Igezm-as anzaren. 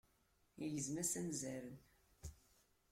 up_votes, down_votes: 2, 0